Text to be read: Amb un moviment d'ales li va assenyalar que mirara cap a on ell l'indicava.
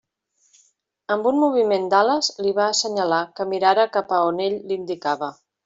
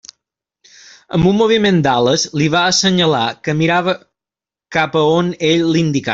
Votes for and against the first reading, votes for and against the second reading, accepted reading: 2, 0, 0, 2, first